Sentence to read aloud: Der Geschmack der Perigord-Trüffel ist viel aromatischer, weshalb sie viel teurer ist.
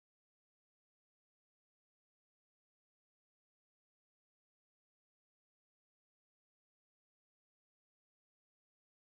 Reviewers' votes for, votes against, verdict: 0, 2, rejected